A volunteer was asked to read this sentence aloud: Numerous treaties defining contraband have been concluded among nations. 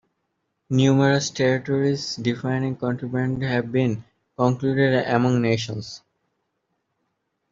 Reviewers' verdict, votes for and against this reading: rejected, 1, 2